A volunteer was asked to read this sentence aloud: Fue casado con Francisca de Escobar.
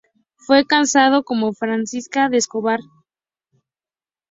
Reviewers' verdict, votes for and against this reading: rejected, 2, 2